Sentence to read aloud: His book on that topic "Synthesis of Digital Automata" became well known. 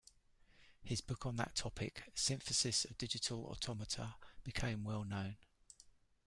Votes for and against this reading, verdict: 2, 0, accepted